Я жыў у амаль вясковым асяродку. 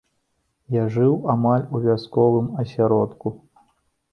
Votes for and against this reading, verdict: 0, 2, rejected